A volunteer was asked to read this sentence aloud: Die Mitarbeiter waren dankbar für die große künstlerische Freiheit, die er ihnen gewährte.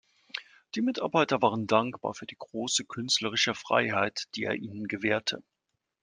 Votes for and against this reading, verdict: 2, 0, accepted